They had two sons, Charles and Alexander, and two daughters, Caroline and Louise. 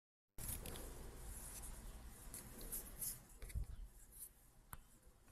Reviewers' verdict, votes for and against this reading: rejected, 0, 2